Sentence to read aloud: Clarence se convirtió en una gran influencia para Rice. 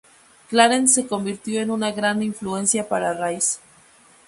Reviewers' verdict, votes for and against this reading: rejected, 2, 2